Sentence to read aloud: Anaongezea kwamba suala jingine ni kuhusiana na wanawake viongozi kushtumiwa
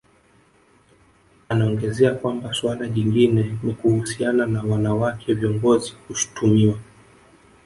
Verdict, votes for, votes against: rejected, 0, 2